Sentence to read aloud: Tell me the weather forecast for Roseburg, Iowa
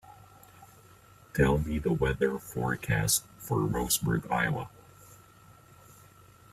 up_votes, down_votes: 2, 1